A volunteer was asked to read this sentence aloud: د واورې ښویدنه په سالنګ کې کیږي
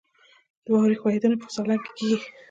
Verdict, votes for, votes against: accepted, 2, 0